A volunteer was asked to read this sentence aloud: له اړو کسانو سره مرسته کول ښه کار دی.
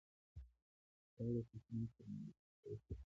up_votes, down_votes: 0, 2